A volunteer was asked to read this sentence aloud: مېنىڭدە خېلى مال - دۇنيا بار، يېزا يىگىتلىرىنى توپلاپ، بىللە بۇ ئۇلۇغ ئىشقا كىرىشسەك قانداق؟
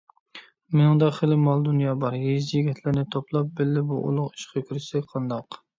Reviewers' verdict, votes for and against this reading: rejected, 0, 2